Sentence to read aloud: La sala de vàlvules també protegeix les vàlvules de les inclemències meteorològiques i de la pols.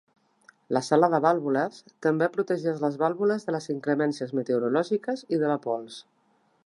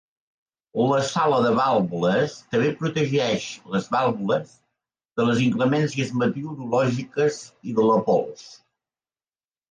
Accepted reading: first